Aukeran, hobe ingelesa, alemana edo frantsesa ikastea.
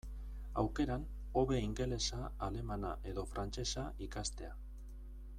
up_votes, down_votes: 1, 2